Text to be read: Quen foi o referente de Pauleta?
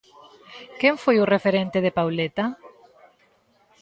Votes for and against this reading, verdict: 2, 0, accepted